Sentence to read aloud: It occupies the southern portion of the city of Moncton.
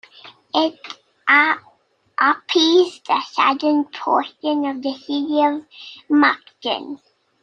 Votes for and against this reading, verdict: 1, 2, rejected